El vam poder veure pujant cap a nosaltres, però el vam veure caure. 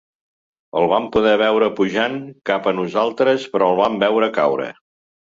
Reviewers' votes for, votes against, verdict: 2, 0, accepted